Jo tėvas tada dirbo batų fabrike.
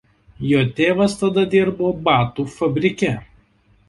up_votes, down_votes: 2, 0